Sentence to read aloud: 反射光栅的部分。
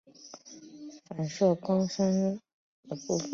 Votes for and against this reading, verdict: 1, 4, rejected